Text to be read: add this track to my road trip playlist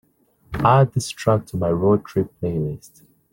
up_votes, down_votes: 3, 0